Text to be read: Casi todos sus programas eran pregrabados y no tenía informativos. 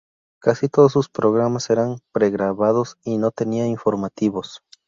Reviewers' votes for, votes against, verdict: 2, 0, accepted